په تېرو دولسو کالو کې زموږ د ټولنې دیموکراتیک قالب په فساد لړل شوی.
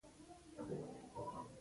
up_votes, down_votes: 2, 1